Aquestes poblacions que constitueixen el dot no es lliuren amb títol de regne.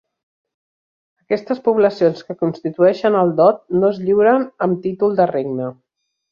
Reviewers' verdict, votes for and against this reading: accepted, 3, 1